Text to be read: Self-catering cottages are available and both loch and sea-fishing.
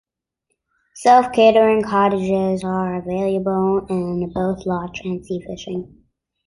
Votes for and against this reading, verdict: 1, 2, rejected